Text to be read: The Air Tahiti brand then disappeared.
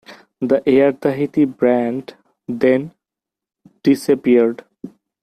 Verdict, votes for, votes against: accepted, 2, 0